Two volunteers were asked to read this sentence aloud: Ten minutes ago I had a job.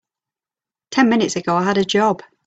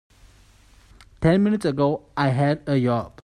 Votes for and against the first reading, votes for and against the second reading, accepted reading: 2, 0, 1, 2, first